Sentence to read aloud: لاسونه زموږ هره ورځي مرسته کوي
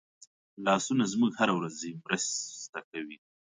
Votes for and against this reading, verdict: 5, 4, accepted